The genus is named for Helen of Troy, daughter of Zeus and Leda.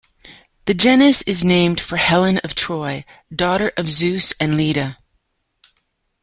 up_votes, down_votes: 2, 0